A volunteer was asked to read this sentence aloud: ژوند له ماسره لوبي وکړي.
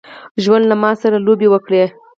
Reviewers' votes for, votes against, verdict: 4, 0, accepted